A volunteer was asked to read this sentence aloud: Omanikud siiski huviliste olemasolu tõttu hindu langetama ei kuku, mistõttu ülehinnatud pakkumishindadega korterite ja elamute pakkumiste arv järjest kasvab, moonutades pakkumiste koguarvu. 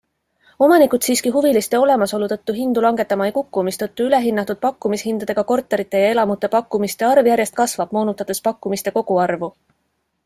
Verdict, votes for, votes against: accepted, 3, 0